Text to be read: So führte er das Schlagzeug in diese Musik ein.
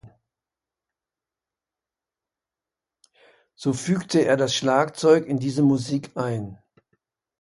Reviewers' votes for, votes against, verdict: 1, 2, rejected